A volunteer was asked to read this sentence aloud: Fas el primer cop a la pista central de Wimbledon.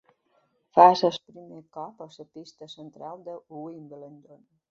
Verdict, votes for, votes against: rejected, 1, 3